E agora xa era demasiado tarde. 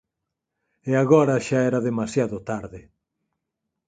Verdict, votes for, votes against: accepted, 6, 0